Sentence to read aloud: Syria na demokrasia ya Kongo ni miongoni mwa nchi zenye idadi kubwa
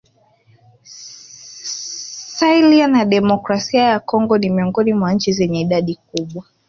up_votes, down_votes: 5, 0